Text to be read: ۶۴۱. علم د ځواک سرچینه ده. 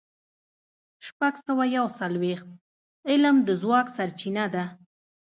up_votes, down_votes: 0, 2